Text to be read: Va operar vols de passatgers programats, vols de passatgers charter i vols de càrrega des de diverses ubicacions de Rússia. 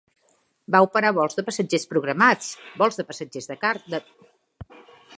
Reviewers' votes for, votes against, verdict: 0, 2, rejected